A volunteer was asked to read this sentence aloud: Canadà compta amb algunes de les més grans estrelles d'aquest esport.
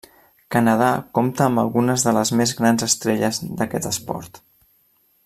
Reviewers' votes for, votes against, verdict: 3, 0, accepted